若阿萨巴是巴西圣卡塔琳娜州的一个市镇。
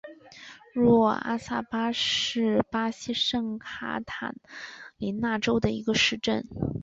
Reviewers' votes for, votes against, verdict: 3, 0, accepted